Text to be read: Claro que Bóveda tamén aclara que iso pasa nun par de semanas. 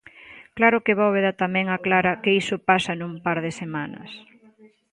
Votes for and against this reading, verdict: 2, 0, accepted